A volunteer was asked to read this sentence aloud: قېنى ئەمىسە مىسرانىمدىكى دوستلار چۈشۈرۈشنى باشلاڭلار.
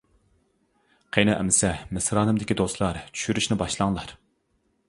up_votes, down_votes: 2, 0